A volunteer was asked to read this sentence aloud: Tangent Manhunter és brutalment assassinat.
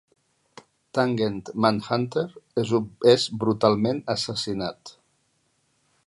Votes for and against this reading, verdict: 0, 2, rejected